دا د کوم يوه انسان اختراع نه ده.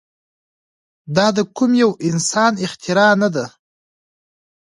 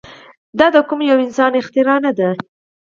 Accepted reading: second